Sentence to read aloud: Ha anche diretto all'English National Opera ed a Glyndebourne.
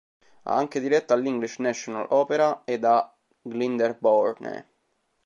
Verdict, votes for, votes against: rejected, 1, 2